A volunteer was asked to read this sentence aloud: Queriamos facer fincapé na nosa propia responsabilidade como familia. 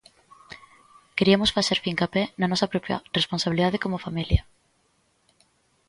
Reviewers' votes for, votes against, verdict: 1, 2, rejected